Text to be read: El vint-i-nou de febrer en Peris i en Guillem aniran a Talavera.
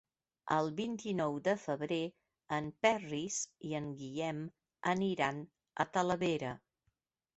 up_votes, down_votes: 2, 1